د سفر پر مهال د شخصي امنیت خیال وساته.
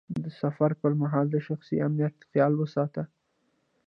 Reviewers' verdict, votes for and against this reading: rejected, 1, 2